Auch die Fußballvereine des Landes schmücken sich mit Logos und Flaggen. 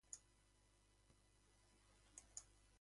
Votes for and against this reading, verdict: 0, 3, rejected